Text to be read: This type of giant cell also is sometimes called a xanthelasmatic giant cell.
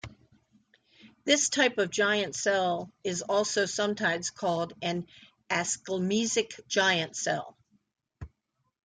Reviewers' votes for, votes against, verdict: 1, 2, rejected